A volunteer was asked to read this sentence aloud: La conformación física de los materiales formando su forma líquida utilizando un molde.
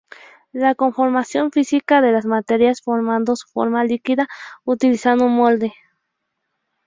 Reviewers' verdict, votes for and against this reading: rejected, 2, 2